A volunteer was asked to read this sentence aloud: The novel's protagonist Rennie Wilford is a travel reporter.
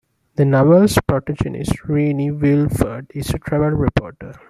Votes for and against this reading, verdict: 2, 1, accepted